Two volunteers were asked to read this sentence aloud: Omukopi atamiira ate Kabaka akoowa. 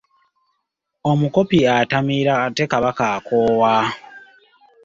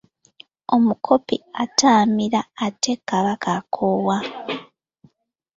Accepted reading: first